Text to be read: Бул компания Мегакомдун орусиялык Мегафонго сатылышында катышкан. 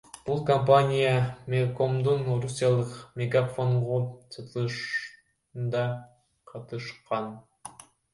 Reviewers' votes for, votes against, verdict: 1, 2, rejected